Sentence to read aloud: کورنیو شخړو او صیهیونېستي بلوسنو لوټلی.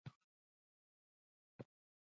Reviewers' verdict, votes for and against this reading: rejected, 1, 2